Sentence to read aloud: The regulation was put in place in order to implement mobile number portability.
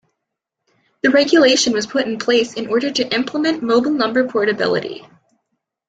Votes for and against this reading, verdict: 2, 0, accepted